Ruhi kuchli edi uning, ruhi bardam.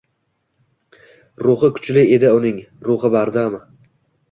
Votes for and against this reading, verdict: 2, 0, accepted